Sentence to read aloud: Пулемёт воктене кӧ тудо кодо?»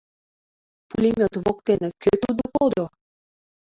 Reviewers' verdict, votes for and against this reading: rejected, 0, 2